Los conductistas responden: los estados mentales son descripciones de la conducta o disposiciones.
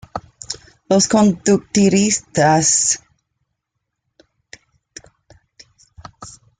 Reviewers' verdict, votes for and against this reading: rejected, 0, 2